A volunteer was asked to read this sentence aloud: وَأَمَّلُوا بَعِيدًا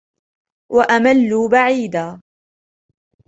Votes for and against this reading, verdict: 1, 2, rejected